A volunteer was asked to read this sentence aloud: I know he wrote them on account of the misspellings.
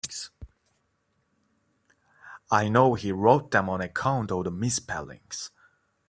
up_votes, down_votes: 1, 2